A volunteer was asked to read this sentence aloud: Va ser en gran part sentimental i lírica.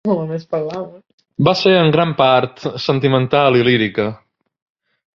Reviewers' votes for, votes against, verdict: 1, 2, rejected